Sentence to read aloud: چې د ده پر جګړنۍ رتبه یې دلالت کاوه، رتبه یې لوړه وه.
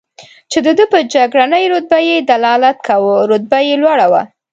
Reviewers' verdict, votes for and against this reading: accepted, 3, 0